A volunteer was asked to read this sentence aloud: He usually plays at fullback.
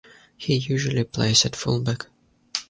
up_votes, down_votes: 2, 0